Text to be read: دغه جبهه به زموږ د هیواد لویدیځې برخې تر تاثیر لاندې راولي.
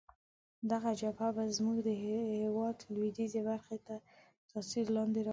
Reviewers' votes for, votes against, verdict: 1, 2, rejected